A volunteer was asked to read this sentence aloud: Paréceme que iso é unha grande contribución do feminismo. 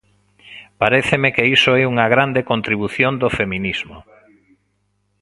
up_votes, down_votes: 0, 2